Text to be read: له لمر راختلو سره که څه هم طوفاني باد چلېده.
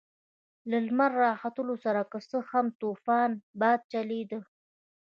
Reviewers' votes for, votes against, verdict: 1, 2, rejected